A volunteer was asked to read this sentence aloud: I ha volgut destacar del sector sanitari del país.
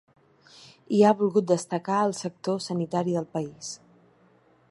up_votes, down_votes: 1, 2